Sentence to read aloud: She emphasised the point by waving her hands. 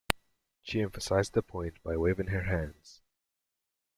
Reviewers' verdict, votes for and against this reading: accepted, 2, 0